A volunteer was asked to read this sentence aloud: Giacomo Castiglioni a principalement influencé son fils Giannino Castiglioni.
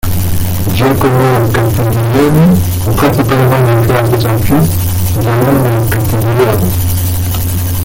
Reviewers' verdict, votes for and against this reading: rejected, 0, 2